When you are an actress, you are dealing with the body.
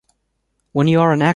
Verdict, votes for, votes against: rejected, 0, 2